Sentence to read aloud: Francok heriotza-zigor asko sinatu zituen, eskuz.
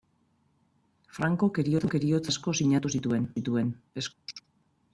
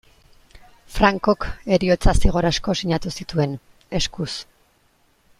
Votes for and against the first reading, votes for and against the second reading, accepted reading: 1, 2, 2, 0, second